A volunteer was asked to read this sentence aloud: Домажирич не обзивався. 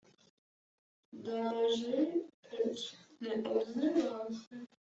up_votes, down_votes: 1, 2